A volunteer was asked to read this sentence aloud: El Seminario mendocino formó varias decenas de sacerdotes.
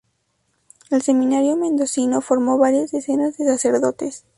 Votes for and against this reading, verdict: 2, 0, accepted